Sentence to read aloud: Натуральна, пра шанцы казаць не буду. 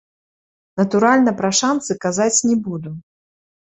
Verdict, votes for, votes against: rejected, 0, 2